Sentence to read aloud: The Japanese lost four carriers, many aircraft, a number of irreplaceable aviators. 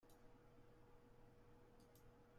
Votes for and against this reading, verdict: 0, 2, rejected